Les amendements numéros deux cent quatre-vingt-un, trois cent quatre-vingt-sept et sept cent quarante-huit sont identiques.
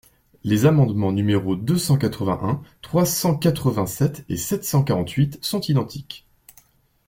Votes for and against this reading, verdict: 2, 0, accepted